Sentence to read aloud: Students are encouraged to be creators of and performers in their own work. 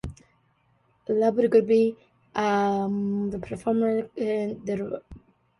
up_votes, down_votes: 0, 2